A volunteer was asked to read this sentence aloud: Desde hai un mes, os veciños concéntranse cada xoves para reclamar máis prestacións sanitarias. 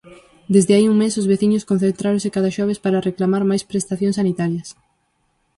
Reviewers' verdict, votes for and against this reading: rejected, 2, 4